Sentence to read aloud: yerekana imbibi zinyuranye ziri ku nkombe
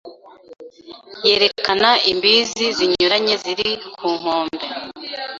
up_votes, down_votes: 0, 2